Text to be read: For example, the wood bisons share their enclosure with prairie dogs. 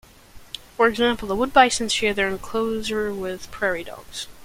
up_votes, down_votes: 2, 0